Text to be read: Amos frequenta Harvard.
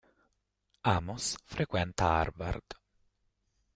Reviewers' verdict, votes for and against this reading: rejected, 0, 2